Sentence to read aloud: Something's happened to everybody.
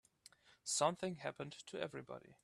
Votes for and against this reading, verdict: 1, 2, rejected